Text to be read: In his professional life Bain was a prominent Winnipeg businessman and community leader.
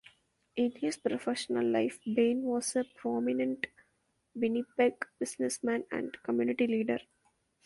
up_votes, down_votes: 2, 0